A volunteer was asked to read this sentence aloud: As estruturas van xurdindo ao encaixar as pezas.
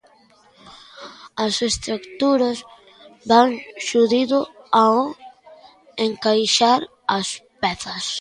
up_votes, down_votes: 0, 2